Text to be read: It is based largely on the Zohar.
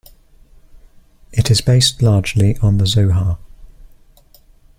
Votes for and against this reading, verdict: 2, 0, accepted